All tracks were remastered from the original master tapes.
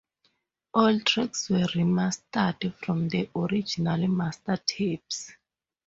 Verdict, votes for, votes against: accepted, 2, 0